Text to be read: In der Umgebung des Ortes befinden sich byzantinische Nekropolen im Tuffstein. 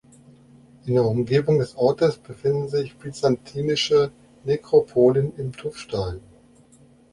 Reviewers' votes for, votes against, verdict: 2, 0, accepted